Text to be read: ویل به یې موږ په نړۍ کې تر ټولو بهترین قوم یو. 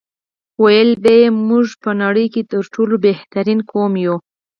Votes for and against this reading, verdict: 2, 4, rejected